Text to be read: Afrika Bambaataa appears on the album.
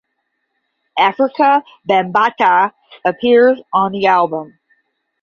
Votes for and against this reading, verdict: 10, 0, accepted